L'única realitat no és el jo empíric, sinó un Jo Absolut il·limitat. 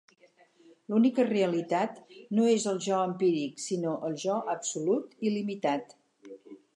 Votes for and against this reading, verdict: 2, 4, rejected